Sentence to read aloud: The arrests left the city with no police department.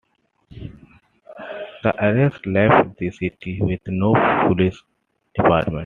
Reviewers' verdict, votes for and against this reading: accepted, 2, 1